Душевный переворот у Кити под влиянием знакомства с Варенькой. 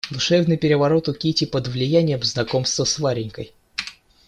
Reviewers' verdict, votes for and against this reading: accepted, 2, 0